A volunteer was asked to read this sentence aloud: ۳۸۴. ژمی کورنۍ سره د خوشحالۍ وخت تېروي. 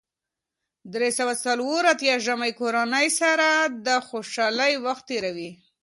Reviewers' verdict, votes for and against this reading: rejected, 0, 2